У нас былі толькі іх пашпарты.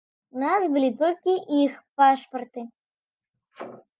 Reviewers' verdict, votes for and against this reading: accepted, 2, 0